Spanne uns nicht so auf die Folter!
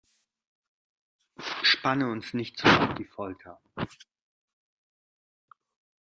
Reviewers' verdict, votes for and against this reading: rejected, 1, 2